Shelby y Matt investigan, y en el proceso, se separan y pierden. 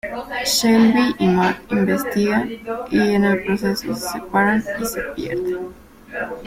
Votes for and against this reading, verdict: 0, 2, rejected